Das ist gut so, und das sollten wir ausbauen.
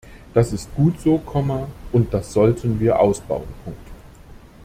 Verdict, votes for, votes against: rejected, 0, 2